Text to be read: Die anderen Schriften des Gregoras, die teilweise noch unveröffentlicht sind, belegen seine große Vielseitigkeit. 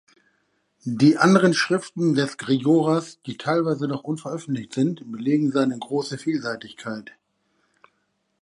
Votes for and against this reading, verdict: 2, 0, accepted